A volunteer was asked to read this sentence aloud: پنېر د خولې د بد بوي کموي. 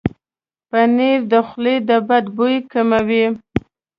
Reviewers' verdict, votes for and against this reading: rejected, 1, 2